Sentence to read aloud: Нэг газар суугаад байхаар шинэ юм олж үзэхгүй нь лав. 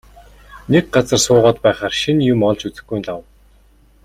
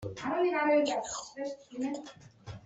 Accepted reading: first